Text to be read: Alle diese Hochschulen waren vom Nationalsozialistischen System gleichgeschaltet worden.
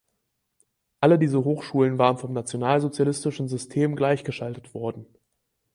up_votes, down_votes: 4, 0